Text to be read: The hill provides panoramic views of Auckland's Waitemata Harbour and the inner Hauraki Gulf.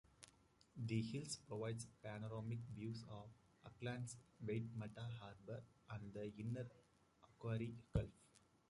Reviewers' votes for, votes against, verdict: 1, 2, rejected